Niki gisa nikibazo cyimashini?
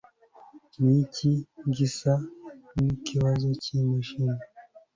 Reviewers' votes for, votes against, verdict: 2, 0, accepted